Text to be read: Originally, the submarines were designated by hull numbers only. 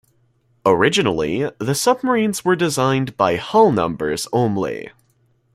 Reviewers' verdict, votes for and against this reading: rejected, 1, 2